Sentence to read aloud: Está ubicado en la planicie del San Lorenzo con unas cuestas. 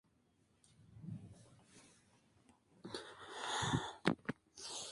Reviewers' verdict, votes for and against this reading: rejected, 0, 2